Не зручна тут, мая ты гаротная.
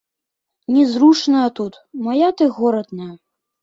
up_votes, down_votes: 0, 2